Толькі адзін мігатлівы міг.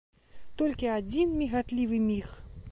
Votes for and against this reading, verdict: 2, 0, accepted